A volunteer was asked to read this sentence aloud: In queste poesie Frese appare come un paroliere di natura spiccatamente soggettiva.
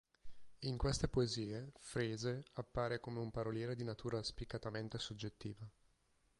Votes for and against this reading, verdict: 6, 0, accepted